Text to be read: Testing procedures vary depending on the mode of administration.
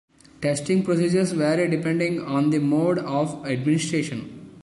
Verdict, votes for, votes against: accepted, 2, 1